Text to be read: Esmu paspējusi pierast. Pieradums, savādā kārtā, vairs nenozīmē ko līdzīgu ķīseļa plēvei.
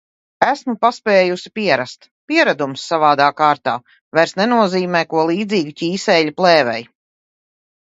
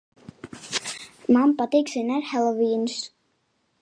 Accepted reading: first